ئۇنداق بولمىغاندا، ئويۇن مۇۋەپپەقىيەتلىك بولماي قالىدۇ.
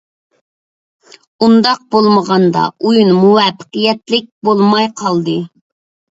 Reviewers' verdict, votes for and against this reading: rejected, 0, 2